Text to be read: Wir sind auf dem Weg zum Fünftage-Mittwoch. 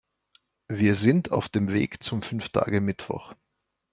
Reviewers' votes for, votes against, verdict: 2, 0, accepted